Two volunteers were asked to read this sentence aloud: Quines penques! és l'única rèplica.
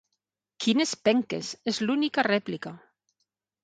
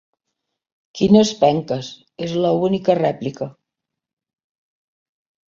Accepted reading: first